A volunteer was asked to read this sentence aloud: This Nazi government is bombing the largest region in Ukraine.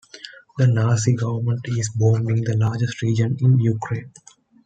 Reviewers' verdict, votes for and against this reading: rejected, 1, 2